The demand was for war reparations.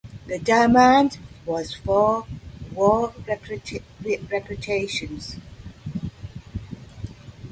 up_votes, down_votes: 1, 2